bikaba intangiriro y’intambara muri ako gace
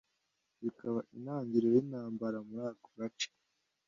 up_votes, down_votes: 2, 0